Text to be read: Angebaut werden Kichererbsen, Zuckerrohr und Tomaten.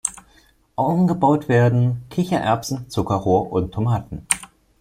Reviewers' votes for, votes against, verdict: 2, 1, accepted